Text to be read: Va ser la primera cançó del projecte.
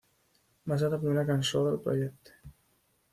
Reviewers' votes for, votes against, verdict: 1, 2, rejected